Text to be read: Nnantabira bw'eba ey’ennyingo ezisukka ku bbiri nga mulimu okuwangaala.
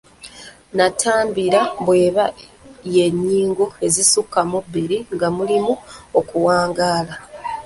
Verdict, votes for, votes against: rejected, 0, 2